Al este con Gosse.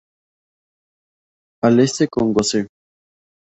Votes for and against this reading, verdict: 0, 2, rejected